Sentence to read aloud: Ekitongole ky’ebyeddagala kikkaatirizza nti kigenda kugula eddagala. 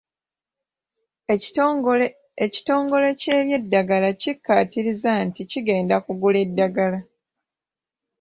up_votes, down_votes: 1, 2